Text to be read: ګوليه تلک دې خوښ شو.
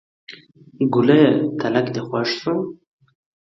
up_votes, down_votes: 2, 0